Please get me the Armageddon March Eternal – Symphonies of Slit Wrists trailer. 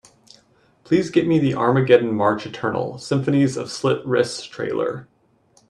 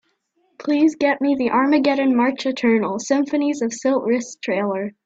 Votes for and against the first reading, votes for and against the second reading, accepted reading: 2, 0, 1, 2, first